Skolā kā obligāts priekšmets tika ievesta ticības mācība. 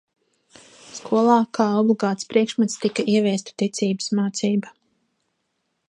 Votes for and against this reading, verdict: 0, 2, rejected